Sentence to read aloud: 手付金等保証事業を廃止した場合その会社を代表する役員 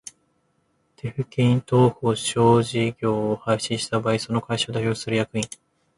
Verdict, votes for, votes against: rejected, 0, 2